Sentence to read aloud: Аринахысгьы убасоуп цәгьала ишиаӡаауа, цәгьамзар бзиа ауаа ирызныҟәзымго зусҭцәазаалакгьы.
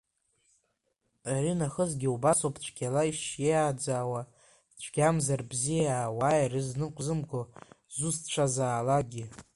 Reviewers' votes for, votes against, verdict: 2, 1, accepted